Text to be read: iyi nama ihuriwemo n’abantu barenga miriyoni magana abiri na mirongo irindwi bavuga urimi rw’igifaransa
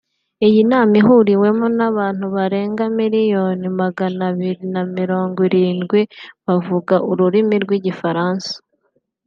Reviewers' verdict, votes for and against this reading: rejected, 1, 2